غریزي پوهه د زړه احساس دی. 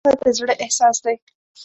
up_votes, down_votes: 0, 2